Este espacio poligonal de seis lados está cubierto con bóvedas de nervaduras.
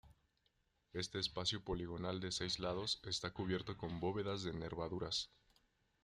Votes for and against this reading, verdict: 2, 1, accepted